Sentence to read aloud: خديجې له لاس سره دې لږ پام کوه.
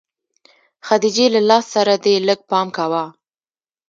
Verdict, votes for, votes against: accepted, 2, 0